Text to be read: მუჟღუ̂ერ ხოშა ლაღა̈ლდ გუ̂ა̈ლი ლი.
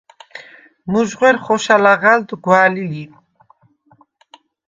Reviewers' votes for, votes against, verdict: 1, 2, rejected